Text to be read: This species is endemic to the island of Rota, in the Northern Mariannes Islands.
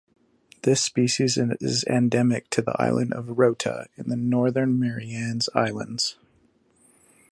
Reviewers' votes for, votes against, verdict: 1, 3, rejected